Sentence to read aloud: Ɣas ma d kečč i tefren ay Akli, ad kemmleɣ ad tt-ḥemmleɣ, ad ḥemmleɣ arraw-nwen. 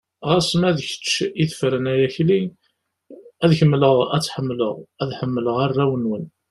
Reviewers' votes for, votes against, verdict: 2, 0, accepted